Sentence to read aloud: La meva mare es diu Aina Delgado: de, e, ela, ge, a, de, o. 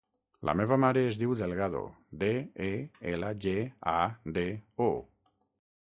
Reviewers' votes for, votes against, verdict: 0, 6, rejected